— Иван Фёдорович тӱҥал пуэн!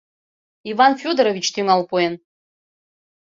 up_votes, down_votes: 2, 0